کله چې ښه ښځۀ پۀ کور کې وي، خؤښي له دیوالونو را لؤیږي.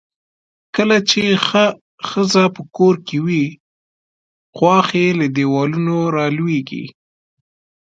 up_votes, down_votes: 0, 2